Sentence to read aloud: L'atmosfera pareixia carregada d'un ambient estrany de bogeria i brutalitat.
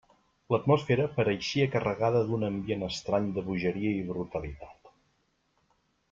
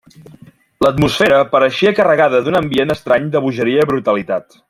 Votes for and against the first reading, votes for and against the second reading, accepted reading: 1, 2, 3, 0, second